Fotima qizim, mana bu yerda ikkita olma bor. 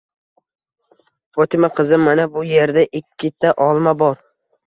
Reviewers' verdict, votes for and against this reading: accepted, 2, 0